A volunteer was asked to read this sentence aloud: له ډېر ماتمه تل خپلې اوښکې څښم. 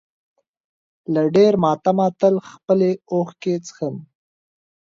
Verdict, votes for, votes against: accepted, 2, 0